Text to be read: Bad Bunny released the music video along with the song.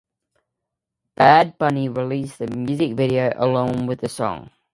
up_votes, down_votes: 2, 0